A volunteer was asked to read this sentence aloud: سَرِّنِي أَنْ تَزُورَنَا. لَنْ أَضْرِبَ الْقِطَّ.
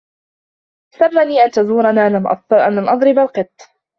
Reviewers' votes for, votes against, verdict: 0, 2, rejected